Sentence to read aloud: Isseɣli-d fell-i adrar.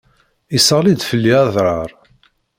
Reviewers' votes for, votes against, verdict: 1, 2, rejected